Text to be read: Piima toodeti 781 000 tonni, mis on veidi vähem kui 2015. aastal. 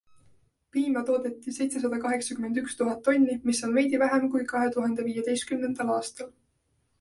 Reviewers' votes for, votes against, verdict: 0, 2, rejected